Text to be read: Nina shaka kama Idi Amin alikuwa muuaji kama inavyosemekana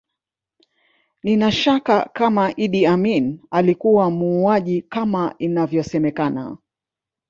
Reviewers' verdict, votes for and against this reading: accepted, 2, 0